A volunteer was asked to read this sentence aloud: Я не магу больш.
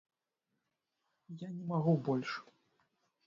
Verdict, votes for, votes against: rejected, 0, 2